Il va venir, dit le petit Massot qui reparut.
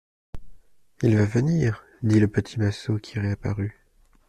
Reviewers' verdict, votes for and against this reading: rejected, 0, 2